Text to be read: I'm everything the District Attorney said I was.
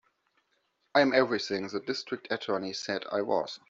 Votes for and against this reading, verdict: 2, 1, accepted